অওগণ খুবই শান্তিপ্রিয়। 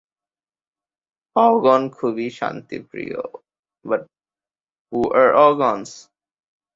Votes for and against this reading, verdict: 2, 4, rejected